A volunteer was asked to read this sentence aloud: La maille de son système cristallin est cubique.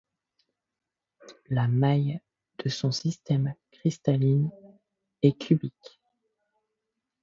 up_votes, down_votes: 0, 2